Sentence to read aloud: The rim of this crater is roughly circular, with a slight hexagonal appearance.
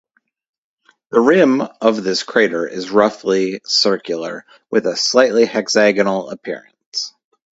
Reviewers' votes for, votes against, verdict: 2, 4, rejected